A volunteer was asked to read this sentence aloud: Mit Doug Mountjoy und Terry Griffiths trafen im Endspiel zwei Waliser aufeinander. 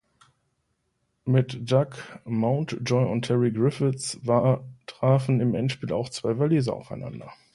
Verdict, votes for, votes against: rejected, 0, 2